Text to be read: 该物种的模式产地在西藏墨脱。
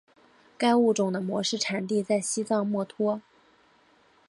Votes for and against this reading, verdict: 2, 0, accepted